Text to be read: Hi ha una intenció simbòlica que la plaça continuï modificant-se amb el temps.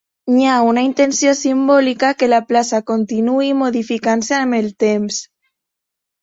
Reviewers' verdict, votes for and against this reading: accepted, 2, 0